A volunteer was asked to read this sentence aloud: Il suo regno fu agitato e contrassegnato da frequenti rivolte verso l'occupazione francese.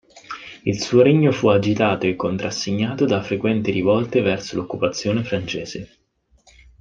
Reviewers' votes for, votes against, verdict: 0, 2, rejected